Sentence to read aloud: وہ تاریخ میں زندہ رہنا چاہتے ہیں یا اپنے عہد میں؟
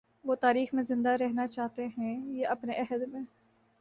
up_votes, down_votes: 2, 0